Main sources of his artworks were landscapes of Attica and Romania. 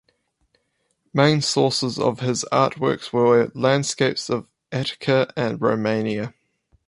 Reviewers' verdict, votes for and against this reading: rejected, 2, 2